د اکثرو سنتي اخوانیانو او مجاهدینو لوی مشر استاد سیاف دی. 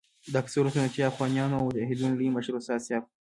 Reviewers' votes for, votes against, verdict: 0, 2, rejected